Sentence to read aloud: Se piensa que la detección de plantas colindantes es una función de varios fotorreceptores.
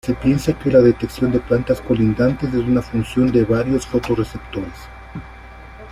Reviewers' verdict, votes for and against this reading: rejected, 1, 2